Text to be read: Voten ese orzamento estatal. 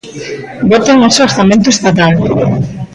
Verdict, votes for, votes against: rejected, 1, 2